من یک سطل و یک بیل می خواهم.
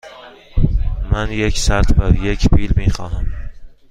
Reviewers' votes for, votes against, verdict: 2, 0, accepted